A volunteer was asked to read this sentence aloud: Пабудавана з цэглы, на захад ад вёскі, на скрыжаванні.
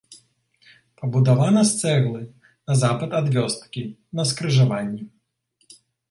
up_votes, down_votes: 0, 2